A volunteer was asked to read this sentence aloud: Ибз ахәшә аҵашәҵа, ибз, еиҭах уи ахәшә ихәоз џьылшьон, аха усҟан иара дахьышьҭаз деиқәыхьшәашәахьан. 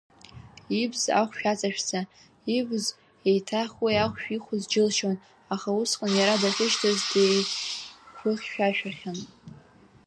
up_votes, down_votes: 1, 2